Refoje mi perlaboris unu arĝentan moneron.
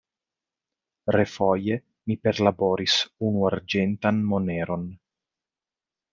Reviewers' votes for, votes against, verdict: 2, 0, accepted